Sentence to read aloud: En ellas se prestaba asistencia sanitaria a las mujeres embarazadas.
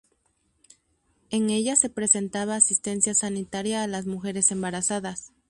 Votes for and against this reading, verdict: 0, 2, rejected